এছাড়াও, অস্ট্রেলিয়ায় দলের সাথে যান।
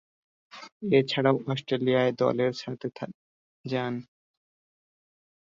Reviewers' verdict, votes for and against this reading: rejected, 1, 2